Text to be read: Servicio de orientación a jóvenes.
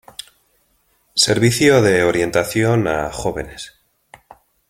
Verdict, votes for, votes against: accepted, 2, 0